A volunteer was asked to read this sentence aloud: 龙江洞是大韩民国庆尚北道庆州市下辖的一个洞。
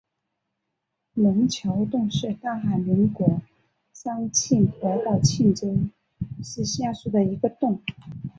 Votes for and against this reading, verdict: 3, 1, accepted